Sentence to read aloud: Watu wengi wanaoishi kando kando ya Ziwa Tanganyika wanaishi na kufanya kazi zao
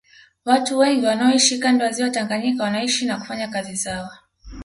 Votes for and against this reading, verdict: 0, 2, rejected